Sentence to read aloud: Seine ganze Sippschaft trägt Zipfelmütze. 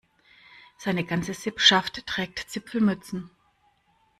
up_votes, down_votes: 0, 2